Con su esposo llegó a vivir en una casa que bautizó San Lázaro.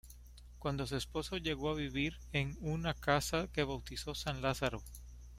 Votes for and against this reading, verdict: 1, 2, rejected